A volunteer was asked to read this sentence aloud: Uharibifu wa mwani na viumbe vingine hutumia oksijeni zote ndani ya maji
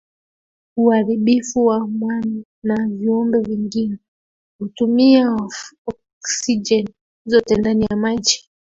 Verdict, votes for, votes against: rejected, 0, 2